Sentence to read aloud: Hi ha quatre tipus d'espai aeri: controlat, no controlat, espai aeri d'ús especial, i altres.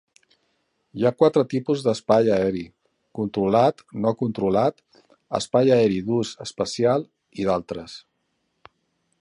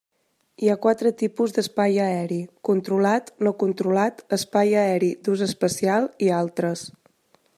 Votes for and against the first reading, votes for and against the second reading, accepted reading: 0, 2, 3, 0, second